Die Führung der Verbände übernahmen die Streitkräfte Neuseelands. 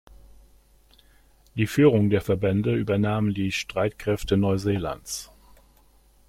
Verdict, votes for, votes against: accepted, 2, 0